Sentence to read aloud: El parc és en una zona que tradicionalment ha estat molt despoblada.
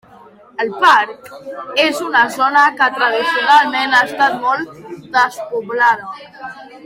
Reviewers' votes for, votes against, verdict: 1, 2, rejected